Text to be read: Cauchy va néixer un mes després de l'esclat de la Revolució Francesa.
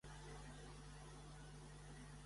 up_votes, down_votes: 0, 3